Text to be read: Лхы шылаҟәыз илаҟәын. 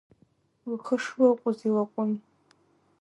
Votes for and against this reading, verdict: 1, 2, rejected